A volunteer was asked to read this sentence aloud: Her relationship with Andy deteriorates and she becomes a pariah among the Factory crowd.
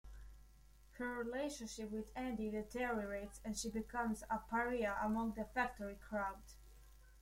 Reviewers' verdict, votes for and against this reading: rejected, 1, 2